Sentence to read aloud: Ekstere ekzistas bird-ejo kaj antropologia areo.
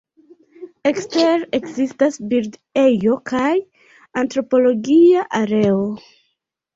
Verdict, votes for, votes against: rejected, 0, 2